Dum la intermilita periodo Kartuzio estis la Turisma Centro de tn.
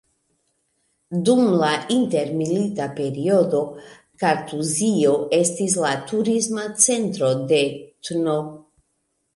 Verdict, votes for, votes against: accepted, 2, 0